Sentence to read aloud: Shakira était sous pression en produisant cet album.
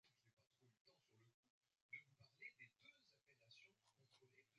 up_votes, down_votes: 0, 2